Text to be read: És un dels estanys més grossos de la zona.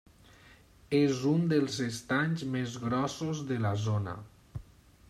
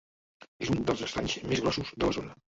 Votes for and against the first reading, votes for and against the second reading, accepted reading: 3, 0, 1, 2, first